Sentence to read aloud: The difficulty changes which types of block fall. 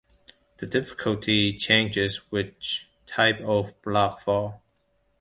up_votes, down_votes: 1, 2